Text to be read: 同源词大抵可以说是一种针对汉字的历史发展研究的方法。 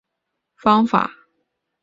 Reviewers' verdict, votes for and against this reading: rejected, 0, 3